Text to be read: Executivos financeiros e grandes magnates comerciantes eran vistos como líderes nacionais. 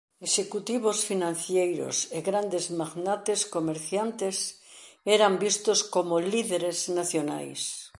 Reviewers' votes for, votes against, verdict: 1, 2, rejected